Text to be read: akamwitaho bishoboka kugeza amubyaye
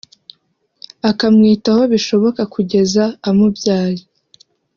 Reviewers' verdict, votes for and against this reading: accepted, 3, 0